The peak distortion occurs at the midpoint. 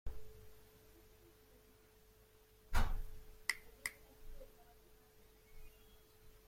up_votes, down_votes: 0, 2